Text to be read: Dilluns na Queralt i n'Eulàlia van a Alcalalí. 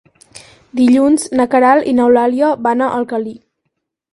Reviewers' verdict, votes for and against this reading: rejected, 2, 4